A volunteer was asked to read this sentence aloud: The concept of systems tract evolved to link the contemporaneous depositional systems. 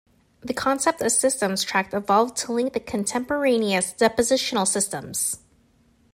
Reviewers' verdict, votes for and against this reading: accepted, 2, 0